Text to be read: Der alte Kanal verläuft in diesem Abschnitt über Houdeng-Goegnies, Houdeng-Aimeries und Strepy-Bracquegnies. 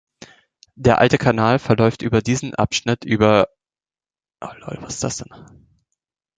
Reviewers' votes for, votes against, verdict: 0, 2, rejected